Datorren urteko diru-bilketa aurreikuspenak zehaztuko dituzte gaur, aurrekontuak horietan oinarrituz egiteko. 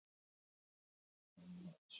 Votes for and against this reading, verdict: 0, 8, rejected